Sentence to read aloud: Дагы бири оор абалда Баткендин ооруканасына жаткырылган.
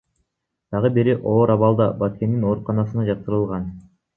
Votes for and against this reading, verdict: 0, 2, rejected